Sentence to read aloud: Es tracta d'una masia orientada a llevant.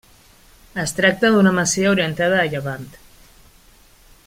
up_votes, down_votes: 3, 1